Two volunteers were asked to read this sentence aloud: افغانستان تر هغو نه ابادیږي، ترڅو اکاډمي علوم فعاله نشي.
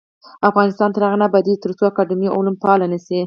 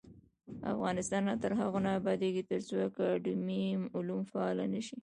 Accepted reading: first